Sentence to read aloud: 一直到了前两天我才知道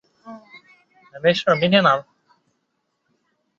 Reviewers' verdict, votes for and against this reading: rejected, 0, 5